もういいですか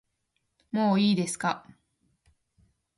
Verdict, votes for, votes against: accepted, 8, 0